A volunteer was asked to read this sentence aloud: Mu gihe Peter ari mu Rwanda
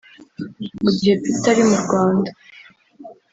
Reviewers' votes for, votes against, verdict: 1, 2, rejected